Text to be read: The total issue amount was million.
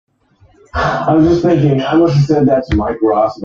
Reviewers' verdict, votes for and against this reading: rejected, 0, 2